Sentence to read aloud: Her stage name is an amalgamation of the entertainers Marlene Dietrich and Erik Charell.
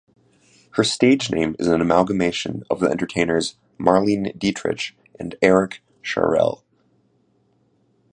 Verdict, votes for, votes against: accepted, 2, 0